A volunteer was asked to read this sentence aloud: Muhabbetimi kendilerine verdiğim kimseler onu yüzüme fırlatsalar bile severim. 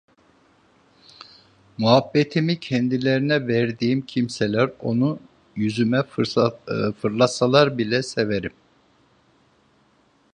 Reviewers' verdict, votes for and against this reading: rejected, 0, 2